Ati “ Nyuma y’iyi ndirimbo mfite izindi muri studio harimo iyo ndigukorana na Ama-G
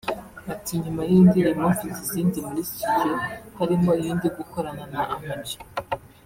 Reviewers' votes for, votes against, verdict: 1, 2, rejected